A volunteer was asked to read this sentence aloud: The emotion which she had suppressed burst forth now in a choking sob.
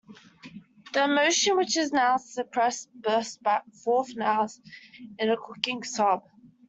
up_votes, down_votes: 0, 2